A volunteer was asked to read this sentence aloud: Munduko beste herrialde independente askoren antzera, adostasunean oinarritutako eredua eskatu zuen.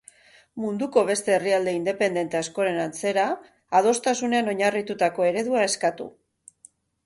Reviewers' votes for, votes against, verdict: 0, 6, rejected